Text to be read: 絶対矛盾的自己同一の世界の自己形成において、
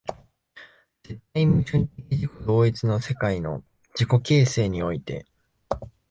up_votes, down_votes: 0, 2